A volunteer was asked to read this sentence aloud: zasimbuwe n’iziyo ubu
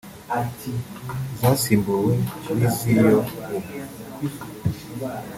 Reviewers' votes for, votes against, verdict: 1, 2, rejected